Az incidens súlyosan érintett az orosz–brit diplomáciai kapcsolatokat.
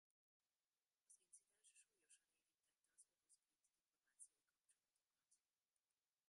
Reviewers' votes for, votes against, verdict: 0, 2, rejected